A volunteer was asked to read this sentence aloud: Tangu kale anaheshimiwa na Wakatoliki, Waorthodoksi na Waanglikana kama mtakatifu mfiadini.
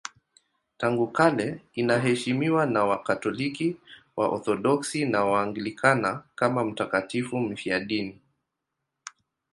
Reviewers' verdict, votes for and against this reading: rejected, 1, 2